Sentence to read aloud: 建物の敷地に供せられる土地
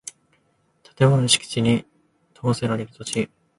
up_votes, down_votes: 2, 0